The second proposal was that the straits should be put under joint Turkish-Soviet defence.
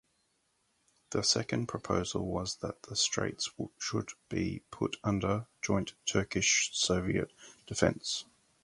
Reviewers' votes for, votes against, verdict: 0, 2, rejected